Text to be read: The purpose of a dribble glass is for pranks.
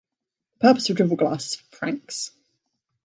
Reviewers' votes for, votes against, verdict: 1, 2, rejected